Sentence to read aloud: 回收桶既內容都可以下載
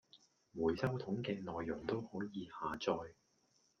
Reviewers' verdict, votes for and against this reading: accepted, 2, 1